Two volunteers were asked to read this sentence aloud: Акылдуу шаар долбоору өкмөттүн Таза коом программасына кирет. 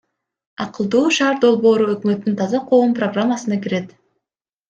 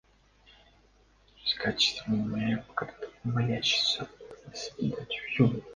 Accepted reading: first